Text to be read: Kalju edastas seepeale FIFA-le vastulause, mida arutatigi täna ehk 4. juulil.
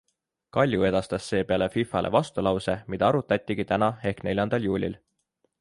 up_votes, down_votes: 0, 2